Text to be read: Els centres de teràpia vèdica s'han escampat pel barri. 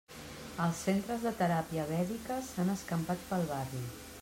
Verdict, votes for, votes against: accepted, 2, 0